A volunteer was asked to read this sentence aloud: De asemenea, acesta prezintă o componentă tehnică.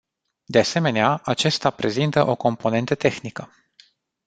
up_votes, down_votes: 2, 0